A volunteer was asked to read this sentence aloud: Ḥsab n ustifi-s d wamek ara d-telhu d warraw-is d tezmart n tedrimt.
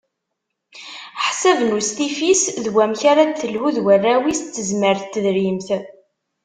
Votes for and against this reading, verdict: 2, 0, accepted